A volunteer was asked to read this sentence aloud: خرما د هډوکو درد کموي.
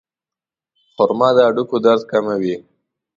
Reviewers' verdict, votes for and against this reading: accepted, 2, 0